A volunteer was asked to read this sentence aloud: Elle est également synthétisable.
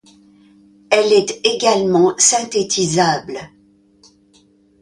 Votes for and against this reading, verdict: 2, 0, accepted